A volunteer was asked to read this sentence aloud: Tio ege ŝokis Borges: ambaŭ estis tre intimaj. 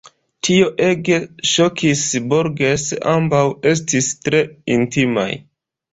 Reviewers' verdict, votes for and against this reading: accepted, 3, 0